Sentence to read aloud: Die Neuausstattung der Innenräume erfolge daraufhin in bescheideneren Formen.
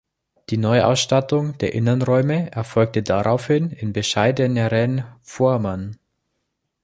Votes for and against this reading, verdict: 0, 2, rejected